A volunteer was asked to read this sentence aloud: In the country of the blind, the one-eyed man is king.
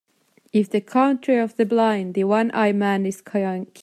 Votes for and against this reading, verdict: 0, 2, rejected